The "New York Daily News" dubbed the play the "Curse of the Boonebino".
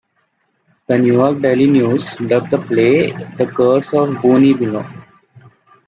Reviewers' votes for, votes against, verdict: 2, 0, accepted